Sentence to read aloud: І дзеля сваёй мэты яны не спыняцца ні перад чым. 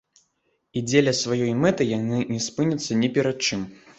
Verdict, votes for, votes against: accepted, 2, 0